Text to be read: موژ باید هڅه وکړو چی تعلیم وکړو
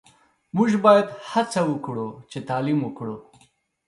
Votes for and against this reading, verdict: 2, 0, accepted